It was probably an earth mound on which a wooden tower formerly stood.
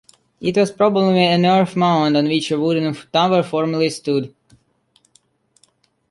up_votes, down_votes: 2, 0